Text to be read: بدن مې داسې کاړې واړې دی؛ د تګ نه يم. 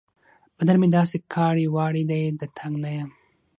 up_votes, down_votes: 3, 6